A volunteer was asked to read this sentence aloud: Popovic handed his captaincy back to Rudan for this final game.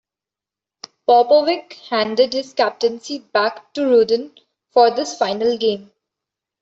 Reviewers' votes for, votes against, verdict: 2, 1, accepted